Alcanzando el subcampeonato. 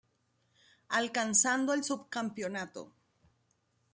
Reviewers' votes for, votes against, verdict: 2, 0, accepted